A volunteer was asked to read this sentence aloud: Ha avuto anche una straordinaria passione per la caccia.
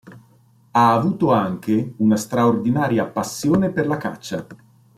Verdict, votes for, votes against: accepted, 2, 0